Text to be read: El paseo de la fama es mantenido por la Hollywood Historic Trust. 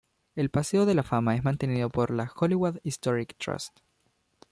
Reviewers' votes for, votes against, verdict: 2, 0, accepted